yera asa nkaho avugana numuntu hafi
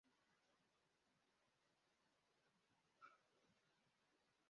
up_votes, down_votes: 0, 2